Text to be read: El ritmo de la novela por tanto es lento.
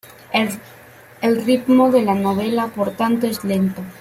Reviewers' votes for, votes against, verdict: 0, 3, rejected